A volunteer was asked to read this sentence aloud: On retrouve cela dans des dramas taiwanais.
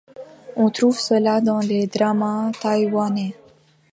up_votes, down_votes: 0, 2